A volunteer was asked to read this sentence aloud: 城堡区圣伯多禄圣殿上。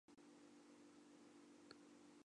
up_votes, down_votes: 1, 2